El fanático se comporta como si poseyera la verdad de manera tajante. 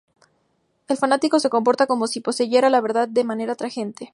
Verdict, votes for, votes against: accepted, 2, 0